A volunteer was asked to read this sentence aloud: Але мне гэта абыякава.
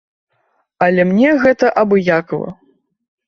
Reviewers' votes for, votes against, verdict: 2, 1, accepted